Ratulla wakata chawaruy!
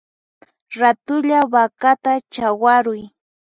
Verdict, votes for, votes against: rejected, 2, 4